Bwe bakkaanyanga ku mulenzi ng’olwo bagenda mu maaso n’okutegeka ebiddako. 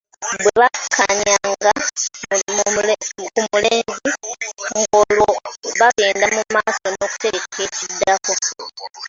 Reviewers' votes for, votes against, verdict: 0, 2, rejected